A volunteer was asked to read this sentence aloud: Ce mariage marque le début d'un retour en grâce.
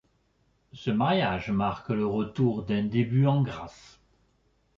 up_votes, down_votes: 0, 2